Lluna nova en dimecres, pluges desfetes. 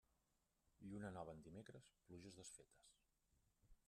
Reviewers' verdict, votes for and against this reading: rejected, 1, 2